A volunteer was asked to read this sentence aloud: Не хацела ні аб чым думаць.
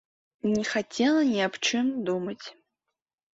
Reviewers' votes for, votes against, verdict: 2, 0, accepted